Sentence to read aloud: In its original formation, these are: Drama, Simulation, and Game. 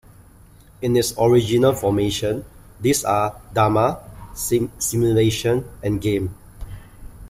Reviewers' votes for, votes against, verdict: 1, 2, rejected